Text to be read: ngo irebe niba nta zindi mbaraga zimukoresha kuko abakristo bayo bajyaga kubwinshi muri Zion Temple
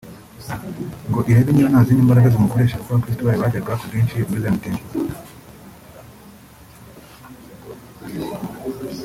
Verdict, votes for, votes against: rejected, 1, 2